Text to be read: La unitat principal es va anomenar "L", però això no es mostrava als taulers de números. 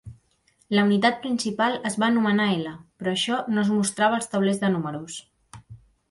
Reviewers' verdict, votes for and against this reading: accepted, 2, 0